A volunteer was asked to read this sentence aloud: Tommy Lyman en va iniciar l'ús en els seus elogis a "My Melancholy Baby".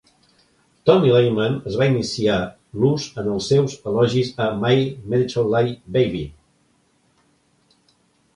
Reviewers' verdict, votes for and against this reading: rejected, 0, 2